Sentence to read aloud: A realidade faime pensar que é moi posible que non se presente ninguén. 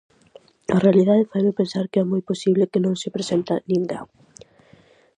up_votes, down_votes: 2, 2